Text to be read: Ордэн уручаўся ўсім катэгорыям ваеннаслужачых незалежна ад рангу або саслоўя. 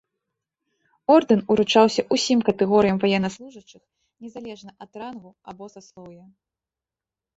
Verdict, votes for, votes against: rejected, 1, 2